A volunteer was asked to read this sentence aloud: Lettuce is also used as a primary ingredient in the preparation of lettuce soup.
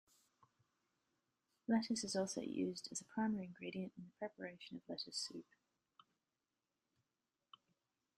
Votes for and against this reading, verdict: 2, 0, accepted